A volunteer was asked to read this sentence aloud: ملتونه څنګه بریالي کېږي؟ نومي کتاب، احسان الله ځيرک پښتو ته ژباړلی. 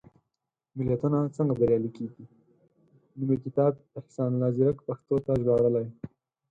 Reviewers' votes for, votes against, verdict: 2, 4, rejected